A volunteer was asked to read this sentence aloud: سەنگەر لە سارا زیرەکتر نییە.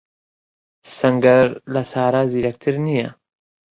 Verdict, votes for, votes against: accepted, 2, 0